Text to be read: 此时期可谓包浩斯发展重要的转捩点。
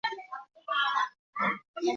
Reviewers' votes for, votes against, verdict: 0, 5, rejected